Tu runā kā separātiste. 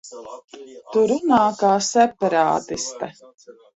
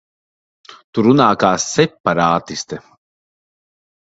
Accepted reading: second